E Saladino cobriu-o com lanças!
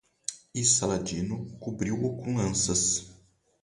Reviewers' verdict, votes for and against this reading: rejected, 2, 2